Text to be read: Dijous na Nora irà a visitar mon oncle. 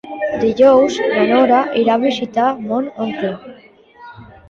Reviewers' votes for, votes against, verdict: 0, 2, rejected